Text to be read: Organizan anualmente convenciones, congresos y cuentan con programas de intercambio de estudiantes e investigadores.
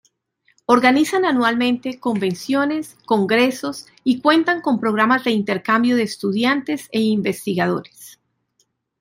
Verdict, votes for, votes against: accepted, 2, 0